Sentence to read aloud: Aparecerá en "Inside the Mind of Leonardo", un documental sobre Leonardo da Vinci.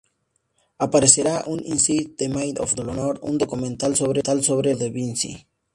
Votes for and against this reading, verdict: 0, 4, rejected